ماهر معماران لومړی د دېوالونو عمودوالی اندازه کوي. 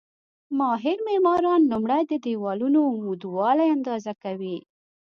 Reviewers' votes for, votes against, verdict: 2, 0, accepted